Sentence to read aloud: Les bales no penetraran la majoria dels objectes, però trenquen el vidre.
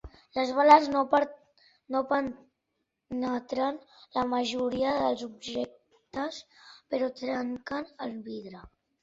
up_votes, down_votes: 0, 2